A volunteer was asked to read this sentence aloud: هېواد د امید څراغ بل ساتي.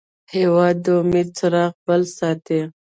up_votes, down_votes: 2, 0